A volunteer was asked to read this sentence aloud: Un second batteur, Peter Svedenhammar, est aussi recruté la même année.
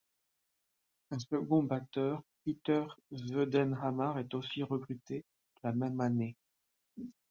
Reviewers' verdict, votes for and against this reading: rejected, 1, 2